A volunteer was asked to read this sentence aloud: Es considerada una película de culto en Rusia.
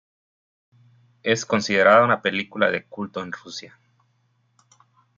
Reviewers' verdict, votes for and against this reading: accepted, 2, 0